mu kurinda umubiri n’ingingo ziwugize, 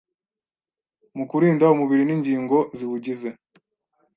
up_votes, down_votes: 2, 0